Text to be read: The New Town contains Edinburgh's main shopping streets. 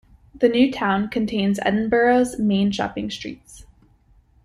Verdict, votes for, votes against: accepted, 2, 0